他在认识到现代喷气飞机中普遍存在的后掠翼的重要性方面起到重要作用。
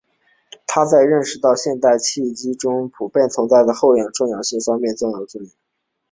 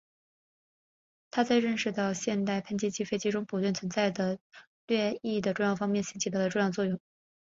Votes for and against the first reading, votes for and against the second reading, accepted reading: 1, 3, 2, 1, second